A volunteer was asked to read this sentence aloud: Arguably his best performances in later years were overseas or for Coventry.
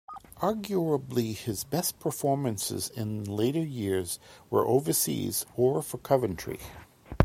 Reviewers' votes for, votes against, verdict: 2, 0, accepted